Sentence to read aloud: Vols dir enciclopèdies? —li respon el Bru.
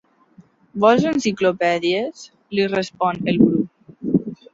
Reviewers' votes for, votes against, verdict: 1, 2, rejected